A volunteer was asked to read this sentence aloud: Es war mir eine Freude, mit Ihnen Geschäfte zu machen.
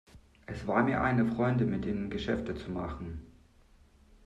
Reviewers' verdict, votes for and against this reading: rejected, 1, 2